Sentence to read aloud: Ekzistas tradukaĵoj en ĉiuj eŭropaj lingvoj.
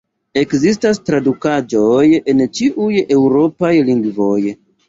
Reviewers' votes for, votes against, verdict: 2, 1, accepted